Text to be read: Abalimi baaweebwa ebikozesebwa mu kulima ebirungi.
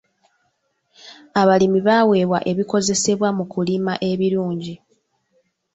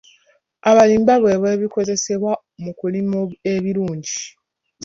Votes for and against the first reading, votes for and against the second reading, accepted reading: 2, 1, 1, 2, first